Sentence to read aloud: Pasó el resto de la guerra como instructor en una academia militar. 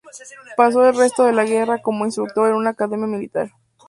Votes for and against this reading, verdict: 4, 2, accepted